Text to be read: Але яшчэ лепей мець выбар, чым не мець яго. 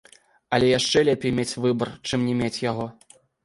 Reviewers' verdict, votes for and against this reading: rejected, 1, 3